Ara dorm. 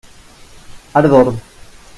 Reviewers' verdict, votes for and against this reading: rejected, 0, 2